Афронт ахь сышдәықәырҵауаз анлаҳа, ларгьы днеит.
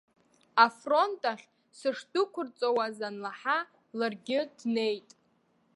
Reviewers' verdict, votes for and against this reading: accepted, 2, 1